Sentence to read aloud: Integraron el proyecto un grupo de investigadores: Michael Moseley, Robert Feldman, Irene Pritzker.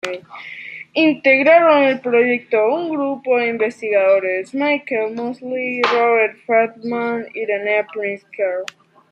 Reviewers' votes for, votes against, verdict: 2, 0, accepted